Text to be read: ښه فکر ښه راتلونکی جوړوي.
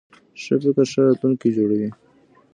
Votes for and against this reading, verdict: 0, 2, rejected